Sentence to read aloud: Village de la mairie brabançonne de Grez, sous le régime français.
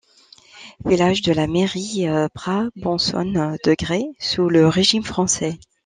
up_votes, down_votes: 0, 2